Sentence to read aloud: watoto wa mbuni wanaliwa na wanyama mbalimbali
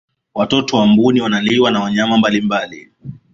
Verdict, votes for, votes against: accepted, 2, 0